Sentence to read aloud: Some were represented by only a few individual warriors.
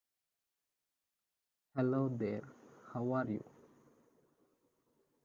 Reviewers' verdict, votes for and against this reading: rejected, 0, 2